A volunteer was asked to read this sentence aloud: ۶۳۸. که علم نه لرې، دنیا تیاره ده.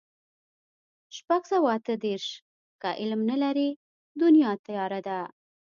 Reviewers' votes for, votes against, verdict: 0, 2, rejected